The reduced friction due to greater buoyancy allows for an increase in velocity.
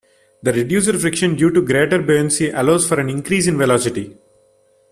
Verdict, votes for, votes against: rejected, 0, 2